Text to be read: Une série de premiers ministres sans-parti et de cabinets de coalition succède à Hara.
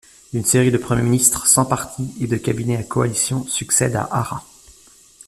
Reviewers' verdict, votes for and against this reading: rejected, 0, 2